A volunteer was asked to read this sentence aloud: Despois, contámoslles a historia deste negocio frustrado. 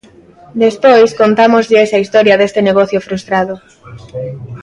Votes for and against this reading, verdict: 2, 0, accepted